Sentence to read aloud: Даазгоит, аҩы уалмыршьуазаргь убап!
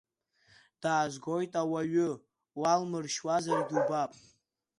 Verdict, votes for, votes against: accepted, 2, 0